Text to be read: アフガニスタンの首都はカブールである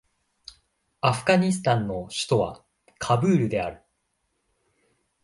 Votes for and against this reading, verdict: 2, 0, accepted